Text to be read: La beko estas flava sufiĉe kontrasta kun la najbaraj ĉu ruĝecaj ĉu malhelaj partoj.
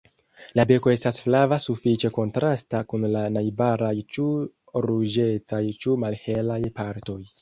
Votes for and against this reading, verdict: 1, 2, rejected